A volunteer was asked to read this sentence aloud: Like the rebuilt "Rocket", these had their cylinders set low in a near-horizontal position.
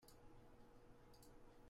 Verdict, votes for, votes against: rejected, 0, 2